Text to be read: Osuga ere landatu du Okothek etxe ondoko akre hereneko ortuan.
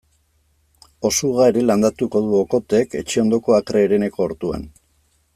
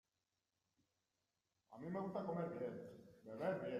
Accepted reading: first